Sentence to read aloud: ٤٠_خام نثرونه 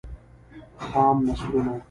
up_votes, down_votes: 0, 2